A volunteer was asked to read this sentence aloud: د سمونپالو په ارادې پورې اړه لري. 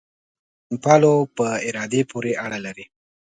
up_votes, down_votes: 2, 0